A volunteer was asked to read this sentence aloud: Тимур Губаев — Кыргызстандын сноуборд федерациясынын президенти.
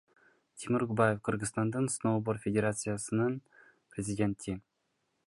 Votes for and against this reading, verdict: 2, 0, accepted